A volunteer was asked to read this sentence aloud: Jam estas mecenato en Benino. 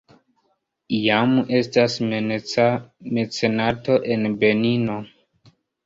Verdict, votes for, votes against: rejected, 1, 2